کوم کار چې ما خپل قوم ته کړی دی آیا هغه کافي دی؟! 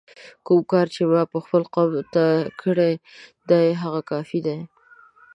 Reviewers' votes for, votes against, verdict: 2, 0, accepted